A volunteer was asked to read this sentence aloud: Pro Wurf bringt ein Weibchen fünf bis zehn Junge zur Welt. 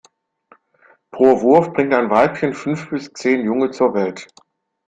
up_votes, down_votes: 2, 0